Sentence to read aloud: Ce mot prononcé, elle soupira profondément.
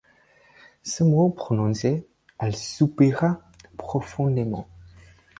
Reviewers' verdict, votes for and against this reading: accepted, 4, 2